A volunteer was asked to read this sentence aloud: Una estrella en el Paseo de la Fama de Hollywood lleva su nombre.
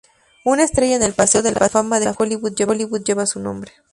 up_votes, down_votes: 0, 2